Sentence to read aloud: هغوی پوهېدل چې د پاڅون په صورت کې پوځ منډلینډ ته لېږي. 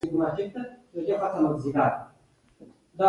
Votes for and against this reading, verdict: 1, 2, rejected